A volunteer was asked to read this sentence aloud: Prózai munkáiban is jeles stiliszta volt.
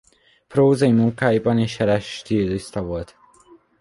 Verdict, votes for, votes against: accepted, 2, 0